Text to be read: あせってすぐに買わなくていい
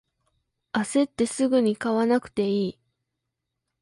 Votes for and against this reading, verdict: 2, 0, accepted